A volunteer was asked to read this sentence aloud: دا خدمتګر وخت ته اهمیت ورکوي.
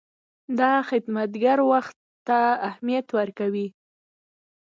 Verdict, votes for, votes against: accepted, 2, 0